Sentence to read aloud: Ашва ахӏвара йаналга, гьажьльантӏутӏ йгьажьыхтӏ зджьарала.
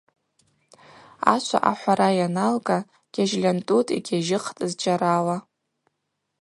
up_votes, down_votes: 2, 0